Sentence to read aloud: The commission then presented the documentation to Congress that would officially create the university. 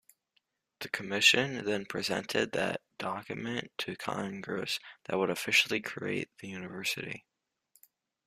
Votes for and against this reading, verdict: 1, 2, rejected